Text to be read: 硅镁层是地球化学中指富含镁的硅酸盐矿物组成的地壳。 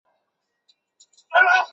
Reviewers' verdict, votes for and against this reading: rejected, 2, 2